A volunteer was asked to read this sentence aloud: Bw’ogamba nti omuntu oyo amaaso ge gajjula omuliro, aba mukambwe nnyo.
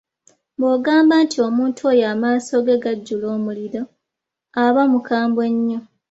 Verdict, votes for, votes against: accepted, 2, 0